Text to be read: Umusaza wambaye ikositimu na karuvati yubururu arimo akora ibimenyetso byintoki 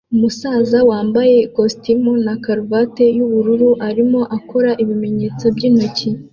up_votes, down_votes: 2, 0